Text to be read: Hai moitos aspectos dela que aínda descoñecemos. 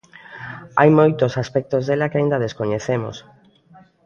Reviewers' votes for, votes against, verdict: 2, 0, accepted